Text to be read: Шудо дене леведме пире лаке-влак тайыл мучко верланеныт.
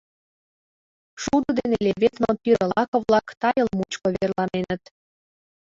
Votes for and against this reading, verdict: 2, 0, accepted